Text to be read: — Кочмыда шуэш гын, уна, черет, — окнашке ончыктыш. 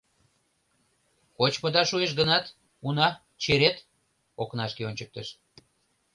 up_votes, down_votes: 0, 2